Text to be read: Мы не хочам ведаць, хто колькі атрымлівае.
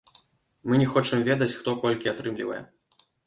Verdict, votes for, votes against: rejected, 0, 2